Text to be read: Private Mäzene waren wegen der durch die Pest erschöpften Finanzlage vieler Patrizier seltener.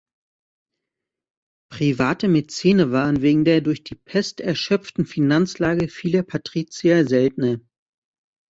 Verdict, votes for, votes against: rejected, 1, 2